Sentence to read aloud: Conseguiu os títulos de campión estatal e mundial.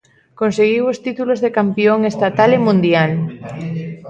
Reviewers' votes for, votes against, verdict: 2, 0, accepted